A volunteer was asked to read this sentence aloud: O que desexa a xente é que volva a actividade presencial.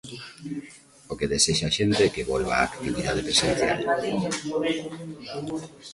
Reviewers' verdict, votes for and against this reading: accepted, 2, 0